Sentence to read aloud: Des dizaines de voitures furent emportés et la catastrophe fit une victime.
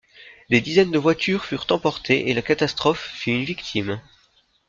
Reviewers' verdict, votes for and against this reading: accepted, 2, 0